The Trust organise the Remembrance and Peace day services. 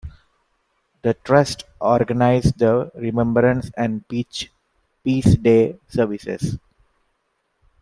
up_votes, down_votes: 1, 2